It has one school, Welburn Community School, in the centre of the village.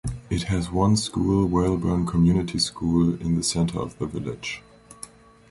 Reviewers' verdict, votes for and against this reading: rejected, 1, 2